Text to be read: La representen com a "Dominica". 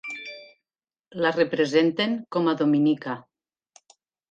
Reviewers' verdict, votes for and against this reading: accepted, 3, 0